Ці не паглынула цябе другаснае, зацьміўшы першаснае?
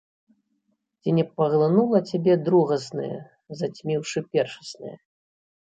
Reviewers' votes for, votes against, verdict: 2, 0, accepted